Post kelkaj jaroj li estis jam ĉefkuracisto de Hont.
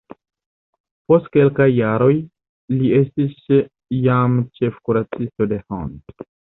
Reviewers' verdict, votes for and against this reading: rejected, 1, 2